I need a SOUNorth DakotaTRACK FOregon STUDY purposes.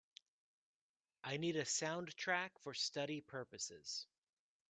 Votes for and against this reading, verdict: 0, 2, rejected